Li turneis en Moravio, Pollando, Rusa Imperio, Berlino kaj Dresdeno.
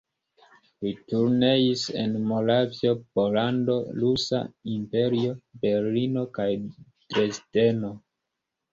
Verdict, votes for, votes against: rejected, 1, 2